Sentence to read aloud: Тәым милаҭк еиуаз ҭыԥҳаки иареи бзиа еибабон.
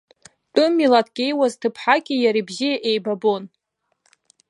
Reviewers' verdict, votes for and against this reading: accepted, 2, 0